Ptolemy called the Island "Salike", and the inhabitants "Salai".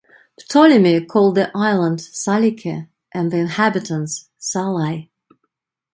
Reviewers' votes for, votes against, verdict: 2, 0, accepted